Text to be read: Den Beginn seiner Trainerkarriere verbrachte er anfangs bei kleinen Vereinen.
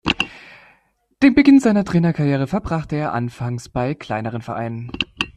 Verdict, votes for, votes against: rejected, 1, 2